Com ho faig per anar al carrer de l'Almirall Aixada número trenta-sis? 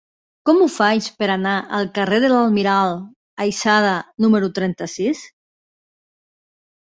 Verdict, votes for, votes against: rejected, 0, 5